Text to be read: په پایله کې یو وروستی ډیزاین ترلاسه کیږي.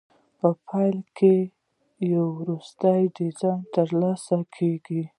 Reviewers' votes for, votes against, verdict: 0, 2, rejected